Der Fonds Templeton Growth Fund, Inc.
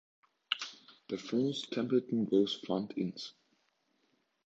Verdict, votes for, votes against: rejected, 0, 2